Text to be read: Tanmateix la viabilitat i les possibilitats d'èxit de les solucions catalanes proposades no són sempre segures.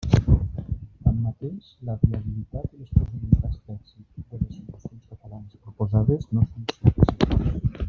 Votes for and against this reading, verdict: 0, 2, rejected